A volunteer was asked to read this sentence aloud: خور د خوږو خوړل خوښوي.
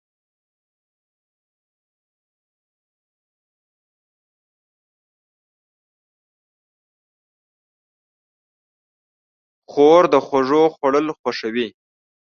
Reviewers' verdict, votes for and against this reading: rejected, 1, 2